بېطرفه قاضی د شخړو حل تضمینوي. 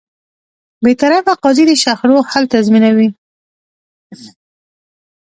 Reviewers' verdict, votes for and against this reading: accepted, 2, 0